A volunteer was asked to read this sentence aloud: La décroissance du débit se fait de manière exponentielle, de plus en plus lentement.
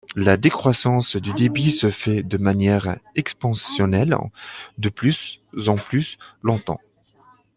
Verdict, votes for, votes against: accepted, 2, 1